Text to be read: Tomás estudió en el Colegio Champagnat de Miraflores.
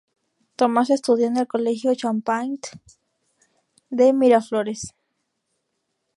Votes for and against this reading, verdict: 0, 2, rejected